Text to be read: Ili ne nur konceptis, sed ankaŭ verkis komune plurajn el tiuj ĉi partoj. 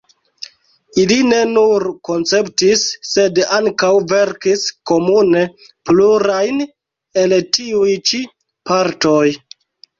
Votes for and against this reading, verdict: 2, 1, accepted